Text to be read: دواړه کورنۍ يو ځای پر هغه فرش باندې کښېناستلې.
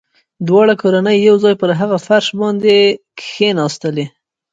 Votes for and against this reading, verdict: 1, 2, rejected